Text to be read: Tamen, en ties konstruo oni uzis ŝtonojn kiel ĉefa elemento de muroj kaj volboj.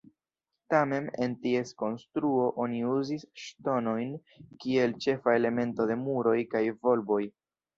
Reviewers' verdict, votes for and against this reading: rejected, 2, 3